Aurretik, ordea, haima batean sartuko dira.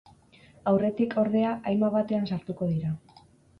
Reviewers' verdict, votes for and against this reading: accepted, 8, 0